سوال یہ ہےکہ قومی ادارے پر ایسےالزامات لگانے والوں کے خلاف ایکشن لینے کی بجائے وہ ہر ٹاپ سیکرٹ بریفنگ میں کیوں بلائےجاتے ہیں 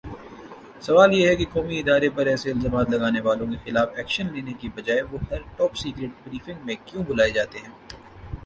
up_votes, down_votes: 2, 0